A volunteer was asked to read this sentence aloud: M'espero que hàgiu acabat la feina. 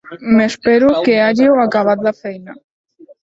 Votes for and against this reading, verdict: 0, 2, rejected